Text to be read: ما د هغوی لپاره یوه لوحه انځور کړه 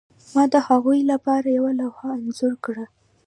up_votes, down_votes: 2, 0